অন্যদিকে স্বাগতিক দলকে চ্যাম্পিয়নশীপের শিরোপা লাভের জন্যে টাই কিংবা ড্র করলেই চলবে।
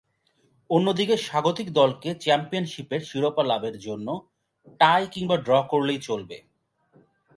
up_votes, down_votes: 1, 3